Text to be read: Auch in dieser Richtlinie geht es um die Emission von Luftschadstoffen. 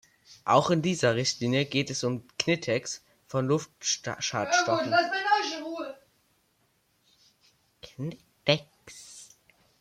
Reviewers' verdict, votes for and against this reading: rejected, 0, 2